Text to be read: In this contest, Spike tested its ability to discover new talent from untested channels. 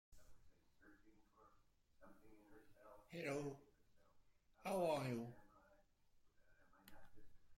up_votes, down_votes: 0, 2